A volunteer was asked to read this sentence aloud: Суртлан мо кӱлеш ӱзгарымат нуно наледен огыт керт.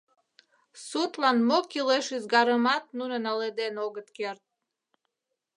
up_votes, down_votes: 0, 2